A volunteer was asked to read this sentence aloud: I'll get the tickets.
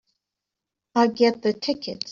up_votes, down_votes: 2, 3